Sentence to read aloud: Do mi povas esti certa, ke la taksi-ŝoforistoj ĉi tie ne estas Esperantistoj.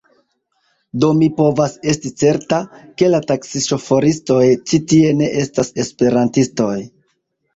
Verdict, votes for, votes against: rejected, 1, 2